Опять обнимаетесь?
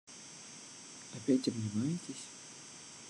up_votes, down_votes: 1, 2